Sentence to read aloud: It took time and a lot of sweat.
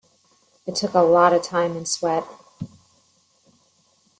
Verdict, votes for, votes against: rejected, 0, 2